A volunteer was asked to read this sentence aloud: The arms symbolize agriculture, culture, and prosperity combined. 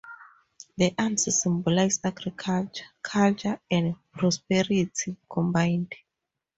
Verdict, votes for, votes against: rejected, 0, 2